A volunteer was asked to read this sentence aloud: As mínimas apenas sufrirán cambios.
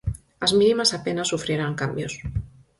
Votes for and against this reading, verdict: 4, 0, accepted